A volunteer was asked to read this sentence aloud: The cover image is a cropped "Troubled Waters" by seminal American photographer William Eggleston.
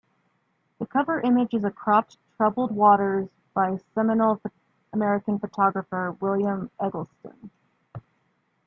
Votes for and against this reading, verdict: 2, 0, accepted